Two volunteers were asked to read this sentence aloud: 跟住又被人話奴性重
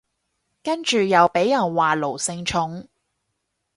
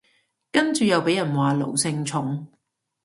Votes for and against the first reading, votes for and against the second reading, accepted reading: 2, 2, 2, 0, second